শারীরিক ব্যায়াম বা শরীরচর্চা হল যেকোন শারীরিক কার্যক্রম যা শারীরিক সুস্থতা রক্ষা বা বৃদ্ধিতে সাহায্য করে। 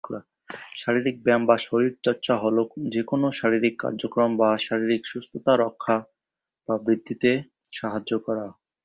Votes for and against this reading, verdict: 3, 5, rejected